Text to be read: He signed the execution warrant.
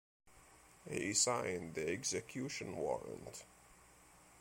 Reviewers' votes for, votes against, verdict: 2, 0, accepted